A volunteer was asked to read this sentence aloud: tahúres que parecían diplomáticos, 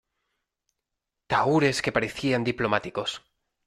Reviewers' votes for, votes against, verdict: 2, 0, accepted